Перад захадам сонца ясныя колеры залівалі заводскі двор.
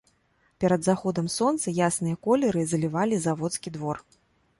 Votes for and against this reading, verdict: 1, 2, rejected